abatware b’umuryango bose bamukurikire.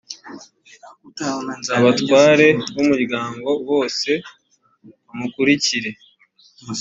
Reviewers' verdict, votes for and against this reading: accepted, 3, 1